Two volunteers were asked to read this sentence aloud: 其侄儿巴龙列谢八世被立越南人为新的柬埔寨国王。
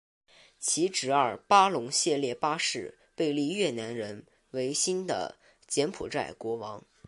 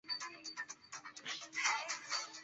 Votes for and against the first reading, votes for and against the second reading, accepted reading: 3, 0, 1, 3, first